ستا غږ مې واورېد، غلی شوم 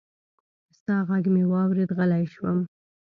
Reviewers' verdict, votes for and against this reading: accepted, 2, 0